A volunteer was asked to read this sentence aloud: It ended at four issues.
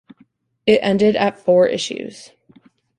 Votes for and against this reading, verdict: 2, 0, accepted